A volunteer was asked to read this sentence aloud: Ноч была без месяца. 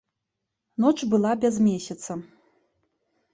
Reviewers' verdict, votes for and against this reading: accepted, 2, 0